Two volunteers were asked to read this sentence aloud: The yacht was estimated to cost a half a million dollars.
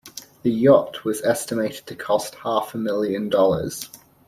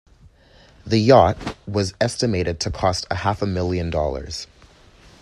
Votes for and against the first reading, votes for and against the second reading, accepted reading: 1, 2, 2, 0, second